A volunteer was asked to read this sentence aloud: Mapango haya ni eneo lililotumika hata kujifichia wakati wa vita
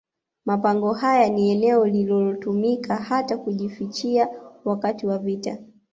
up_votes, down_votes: 1, 2